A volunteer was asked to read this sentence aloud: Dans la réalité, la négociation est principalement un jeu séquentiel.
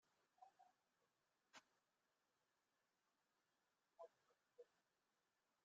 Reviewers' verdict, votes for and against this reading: rejected, 0, 2